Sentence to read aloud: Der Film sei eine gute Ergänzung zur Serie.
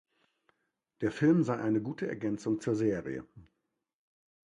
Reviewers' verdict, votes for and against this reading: accepted, 2, 0